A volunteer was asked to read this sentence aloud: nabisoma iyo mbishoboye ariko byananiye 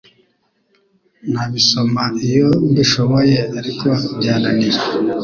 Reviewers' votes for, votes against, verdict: 2, 0, accepted